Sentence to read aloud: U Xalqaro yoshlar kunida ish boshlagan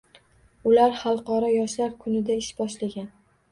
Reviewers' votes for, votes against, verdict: 1, 2, rejected